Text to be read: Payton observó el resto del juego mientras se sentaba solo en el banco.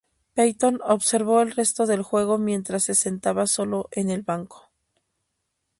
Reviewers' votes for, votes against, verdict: 2, 0, accepted